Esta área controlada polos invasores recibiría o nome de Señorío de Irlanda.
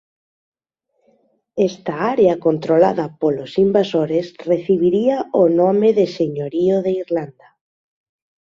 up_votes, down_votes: 2, 0